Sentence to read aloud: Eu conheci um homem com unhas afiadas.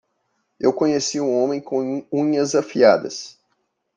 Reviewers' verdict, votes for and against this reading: rejected, 0, 2